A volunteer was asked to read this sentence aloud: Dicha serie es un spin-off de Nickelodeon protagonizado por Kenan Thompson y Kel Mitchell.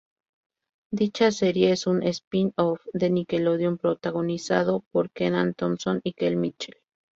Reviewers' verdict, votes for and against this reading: rejected, 0, 2